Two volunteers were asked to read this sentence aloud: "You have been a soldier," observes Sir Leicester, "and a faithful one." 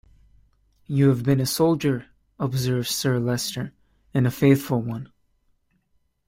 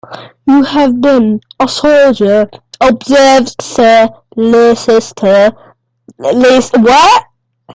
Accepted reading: first